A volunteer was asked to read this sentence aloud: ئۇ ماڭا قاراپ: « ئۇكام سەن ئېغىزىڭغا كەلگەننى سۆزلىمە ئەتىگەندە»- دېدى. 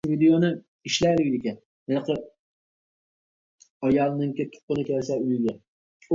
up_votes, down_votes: 0, 2